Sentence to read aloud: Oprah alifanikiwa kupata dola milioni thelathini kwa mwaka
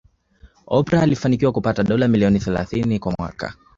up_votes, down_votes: 2, 0